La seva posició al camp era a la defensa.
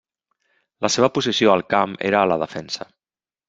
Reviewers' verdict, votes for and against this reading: rejected, 1, 2